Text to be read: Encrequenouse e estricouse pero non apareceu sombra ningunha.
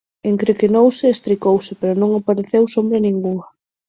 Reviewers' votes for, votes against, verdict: 6, 0, accepted